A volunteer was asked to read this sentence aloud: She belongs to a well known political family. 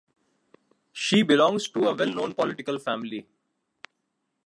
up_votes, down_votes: 2, 0